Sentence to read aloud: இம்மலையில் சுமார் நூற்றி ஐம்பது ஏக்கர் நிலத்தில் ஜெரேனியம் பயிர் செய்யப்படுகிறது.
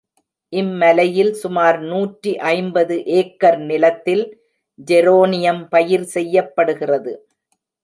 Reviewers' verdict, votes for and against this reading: rejected, 1, 2